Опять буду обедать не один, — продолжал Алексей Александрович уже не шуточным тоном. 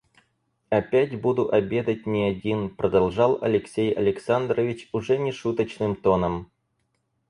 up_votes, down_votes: 4, 0